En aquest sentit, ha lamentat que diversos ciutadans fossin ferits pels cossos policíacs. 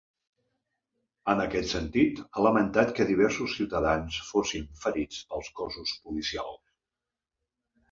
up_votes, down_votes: 2, 3